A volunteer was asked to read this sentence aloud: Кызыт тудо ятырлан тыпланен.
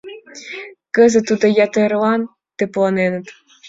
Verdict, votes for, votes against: accepted, 2, 0